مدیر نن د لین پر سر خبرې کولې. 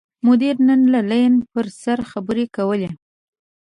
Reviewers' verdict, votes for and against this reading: accepted, 2, 0